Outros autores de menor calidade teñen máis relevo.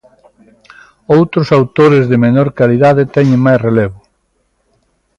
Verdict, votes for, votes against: accepted, 2, 0